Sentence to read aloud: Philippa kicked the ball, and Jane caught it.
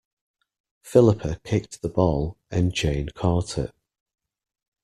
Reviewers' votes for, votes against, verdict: 2, 0, accepted